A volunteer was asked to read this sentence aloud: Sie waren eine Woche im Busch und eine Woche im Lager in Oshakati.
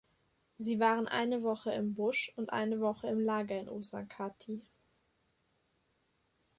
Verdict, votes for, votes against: accepted, 2, 0